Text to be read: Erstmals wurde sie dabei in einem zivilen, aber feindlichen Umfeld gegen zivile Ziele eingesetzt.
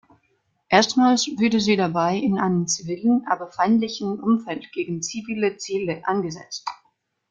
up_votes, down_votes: 0, 2